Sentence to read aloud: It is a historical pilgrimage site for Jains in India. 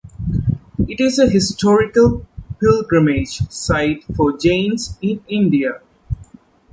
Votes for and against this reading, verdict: 2, 0, accepted